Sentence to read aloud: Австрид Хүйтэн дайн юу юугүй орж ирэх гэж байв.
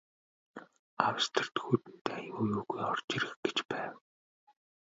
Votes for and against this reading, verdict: 2, 1, accepted